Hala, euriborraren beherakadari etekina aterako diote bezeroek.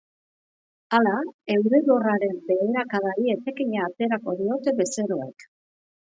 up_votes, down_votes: 2, 0